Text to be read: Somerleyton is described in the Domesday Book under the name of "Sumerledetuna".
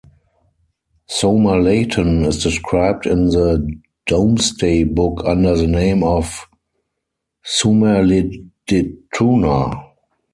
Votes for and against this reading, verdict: 0, 4, rejected